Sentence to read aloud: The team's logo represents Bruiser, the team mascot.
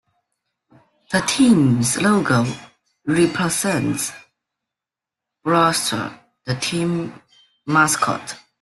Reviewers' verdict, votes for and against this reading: rejected, 1, 2